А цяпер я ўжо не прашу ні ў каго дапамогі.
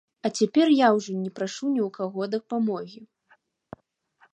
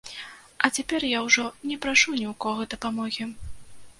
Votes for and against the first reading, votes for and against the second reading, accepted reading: 2, 0, 1, 2, first